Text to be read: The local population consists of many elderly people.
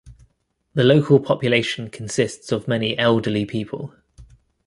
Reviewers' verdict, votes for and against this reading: accepted, 2, 0